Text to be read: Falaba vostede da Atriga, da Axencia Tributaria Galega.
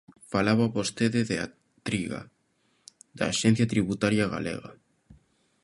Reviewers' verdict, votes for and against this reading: rejected, 1, 2